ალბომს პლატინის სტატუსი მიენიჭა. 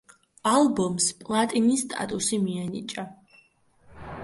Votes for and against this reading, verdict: 2, 0, accepted